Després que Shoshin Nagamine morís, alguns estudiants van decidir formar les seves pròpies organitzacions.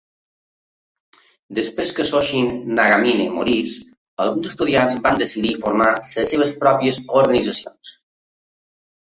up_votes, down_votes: 0, 2